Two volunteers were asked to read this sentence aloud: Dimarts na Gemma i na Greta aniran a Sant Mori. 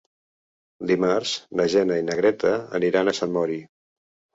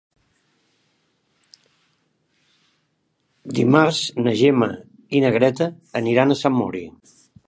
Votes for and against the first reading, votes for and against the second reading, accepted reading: 1, 2, 3, 0, second